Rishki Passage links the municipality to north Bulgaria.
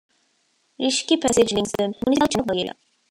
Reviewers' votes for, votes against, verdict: 0, 2, rejected